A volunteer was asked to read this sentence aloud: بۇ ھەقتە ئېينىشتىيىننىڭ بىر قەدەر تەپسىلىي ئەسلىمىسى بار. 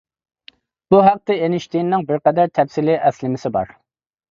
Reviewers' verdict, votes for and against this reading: accepted, 2, 0